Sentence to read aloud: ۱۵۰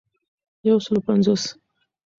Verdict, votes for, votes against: rejected, 0, 2